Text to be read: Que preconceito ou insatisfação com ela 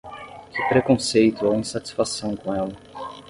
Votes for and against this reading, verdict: 5, 10, rejected